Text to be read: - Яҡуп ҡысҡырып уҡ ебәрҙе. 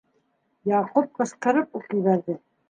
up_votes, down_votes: 2, 0